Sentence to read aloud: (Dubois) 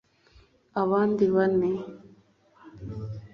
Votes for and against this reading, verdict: 1, 2, rejected